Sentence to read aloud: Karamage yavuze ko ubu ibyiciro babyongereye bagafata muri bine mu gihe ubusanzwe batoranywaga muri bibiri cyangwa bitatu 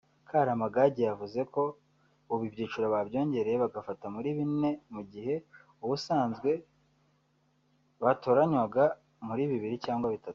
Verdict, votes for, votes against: rejected, 1, 2